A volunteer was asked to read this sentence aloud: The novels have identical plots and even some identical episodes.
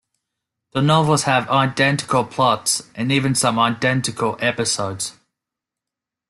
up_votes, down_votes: 2, 0